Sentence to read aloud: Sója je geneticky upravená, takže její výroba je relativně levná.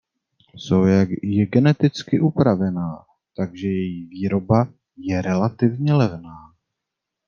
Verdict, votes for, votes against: rejected, 1, 2